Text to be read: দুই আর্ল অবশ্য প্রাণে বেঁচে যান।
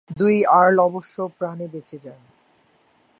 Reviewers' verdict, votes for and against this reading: rejected, 1, 3